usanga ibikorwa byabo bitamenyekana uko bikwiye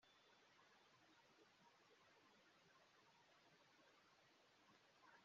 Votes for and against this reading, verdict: 0, 2, rejected